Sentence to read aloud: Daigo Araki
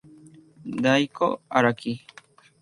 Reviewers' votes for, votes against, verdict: 0, 2, rejected